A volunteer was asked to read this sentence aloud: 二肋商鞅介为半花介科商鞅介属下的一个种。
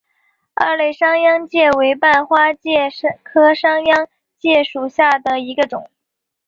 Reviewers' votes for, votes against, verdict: 2, 0, accepted